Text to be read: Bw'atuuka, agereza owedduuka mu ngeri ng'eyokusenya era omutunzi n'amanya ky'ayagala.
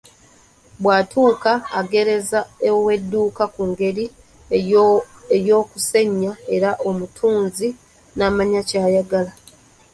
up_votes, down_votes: 0, 2